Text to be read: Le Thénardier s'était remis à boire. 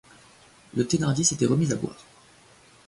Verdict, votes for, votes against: accepted, 2, 1